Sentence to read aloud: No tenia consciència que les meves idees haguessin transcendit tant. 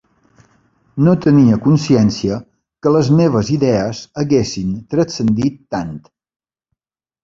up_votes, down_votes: 3, 0